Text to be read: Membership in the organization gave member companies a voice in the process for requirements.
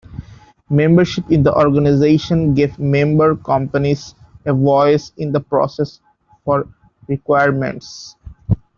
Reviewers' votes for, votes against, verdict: 0, 2, rejected